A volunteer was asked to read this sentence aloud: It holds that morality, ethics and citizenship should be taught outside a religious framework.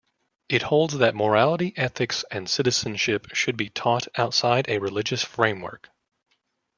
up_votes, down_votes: 2, 0